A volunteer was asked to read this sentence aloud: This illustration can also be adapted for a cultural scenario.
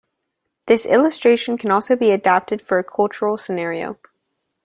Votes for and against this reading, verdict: 2, 1, accepted